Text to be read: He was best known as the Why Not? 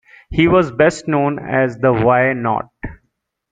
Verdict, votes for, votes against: accepted, 2, 0